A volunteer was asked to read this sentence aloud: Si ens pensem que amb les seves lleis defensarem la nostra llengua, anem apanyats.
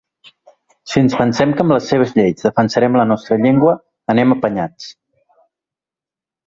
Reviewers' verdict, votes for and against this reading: accepted, 3, 0